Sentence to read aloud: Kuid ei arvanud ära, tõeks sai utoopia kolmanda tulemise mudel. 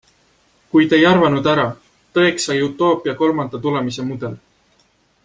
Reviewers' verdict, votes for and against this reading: accepted, 2, 0